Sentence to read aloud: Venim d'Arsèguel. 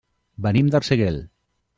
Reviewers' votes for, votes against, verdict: 0, 2, rejected